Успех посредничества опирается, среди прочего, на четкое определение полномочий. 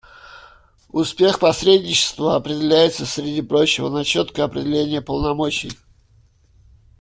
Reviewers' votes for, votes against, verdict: 1, 2, rejected